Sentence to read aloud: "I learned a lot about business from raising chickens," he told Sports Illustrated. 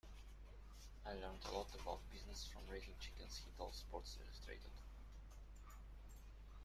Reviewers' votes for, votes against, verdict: 0, 2, rejected